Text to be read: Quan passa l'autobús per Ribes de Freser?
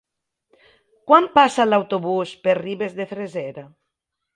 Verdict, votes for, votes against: accepted, 2, 0